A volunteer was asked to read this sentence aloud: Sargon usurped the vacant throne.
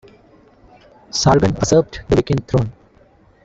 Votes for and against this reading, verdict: 0, 2, rejected